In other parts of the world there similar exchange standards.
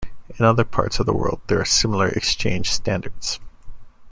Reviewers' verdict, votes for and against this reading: rejected, 1, 2